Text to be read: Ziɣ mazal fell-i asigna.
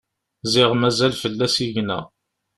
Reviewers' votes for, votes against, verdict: 2, 0, accepted